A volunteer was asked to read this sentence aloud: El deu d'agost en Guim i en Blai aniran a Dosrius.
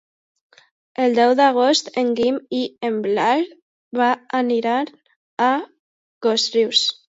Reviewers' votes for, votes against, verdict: 1, 2, rejected